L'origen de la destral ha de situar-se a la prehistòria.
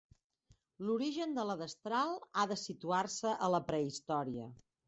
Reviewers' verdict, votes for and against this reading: rejected, 0, 2